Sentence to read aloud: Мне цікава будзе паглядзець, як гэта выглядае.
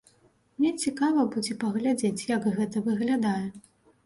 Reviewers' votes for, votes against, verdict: 2, 0, accepted